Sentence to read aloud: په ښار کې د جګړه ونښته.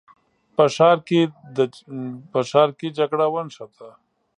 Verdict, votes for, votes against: rejected, 1, 2